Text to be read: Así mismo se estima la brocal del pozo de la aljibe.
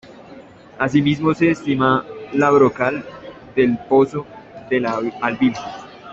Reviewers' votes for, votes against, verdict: 1, 2, rejected